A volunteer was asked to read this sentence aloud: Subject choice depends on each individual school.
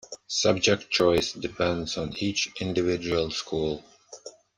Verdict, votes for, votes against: accepted, 2, 0